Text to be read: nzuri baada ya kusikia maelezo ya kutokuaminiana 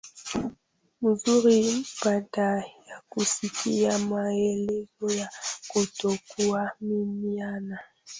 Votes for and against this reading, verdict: 0, 2, rejected